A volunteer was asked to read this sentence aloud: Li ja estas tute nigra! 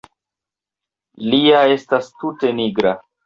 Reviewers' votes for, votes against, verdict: 2, 0, accepted